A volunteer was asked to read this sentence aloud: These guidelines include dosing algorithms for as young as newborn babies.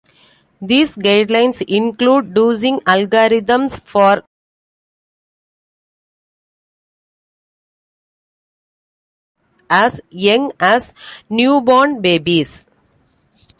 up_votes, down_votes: 0, 3